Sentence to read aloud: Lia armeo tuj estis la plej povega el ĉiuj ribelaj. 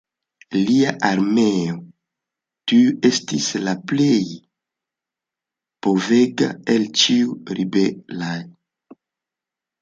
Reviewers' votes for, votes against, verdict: 1, 2, rejected